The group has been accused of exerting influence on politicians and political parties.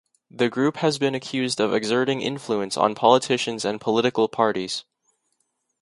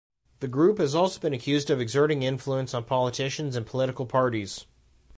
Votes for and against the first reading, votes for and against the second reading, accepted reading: 2, 0, 0, 2, first